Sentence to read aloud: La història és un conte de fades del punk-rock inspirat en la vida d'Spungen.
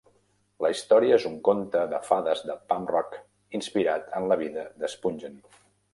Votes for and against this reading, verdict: 1, 2, rejected